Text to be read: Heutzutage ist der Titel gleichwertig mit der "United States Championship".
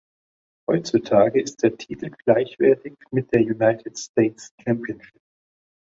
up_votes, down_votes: 2, 0